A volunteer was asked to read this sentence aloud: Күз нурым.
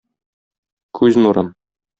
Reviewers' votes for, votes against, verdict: 2, 0, accepted